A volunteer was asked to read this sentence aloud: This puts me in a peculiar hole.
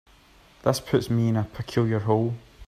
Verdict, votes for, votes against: accepted, 2, 0